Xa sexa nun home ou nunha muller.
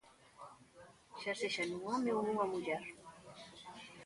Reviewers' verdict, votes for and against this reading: accepted, 2, 0